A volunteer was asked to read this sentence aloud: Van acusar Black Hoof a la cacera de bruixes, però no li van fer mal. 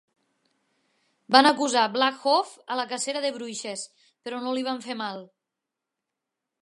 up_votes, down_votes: 2, 0